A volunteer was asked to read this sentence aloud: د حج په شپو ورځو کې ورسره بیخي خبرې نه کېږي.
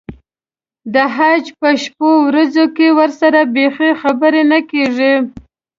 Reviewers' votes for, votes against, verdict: 2, 0, accepted